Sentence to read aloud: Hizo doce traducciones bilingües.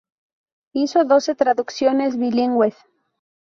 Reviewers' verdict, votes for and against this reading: accepted, 2, 0